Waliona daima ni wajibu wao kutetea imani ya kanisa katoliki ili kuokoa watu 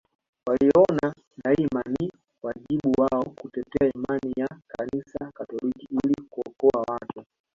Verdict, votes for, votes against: rejected, 1, 2